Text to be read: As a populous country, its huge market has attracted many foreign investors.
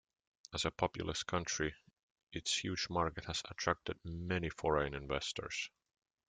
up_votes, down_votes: 2, 0